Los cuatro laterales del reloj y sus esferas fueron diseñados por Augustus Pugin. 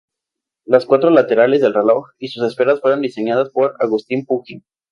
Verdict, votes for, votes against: rejected, 0, 2